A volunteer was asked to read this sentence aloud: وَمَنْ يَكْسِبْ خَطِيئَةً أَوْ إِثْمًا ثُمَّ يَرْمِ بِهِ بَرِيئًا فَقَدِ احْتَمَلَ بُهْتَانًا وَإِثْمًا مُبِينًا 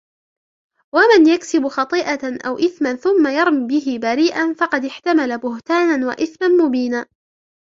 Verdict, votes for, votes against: rejected, 0, 2